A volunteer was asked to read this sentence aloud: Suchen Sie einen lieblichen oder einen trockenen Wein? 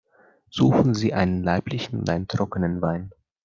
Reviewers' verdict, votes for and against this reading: rejected, 0, 2